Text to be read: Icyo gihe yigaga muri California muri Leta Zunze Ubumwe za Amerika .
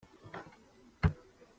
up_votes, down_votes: 0, 2